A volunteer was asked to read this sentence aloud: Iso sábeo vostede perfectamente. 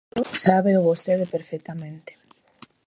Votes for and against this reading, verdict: 1, 2, rejected